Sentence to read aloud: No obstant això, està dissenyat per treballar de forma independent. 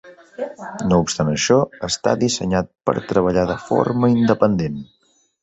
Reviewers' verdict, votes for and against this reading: rejected, 0, 2